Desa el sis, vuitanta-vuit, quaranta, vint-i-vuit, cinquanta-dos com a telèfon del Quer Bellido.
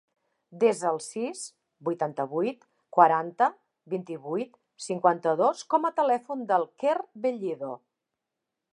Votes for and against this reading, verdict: 3, 0, accepted